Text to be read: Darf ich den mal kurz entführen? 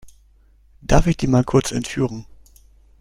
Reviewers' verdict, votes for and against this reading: accepted, 2, 0